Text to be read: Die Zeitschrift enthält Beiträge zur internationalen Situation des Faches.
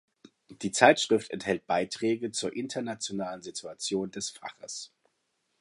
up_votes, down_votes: 2, 0